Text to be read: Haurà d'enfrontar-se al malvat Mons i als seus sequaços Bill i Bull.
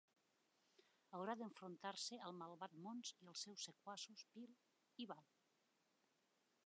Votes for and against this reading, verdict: 1, 2, rejected